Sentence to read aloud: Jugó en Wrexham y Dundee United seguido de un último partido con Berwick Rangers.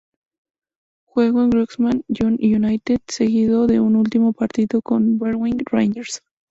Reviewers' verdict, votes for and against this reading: rejected, 0, 2